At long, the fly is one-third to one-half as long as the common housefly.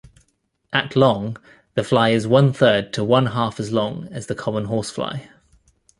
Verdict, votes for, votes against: rejected, 1, 2